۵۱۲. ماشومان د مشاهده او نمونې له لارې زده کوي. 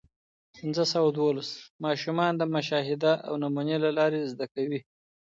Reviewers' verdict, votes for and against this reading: rejected, 0, 2